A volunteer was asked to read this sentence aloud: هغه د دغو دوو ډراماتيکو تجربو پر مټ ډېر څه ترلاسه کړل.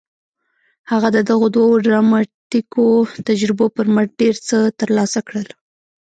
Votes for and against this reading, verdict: 2, 0, accepted